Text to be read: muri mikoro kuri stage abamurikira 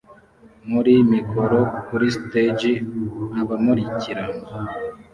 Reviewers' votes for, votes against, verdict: 0, 2, rejected